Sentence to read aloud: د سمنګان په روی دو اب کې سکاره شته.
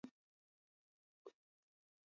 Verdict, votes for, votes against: rejected, 1, 3